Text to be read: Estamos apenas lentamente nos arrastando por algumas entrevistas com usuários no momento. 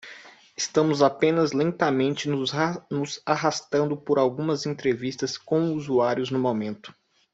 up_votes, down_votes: 0, 2